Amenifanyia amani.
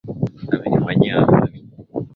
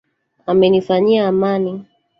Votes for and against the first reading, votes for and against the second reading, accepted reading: 18, 2, 1, 2, first